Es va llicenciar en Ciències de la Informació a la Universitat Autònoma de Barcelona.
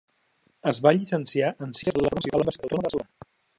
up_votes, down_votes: 0, 2